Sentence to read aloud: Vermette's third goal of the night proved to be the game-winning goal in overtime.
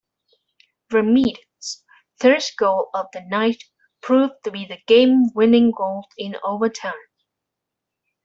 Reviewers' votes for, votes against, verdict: 1, 2, rejected